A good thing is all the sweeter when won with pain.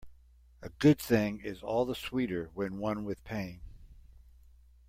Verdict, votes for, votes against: accepted, 2, 0